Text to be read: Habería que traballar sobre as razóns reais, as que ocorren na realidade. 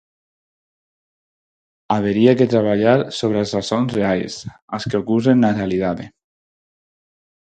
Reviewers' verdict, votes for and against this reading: rejected, 2, 4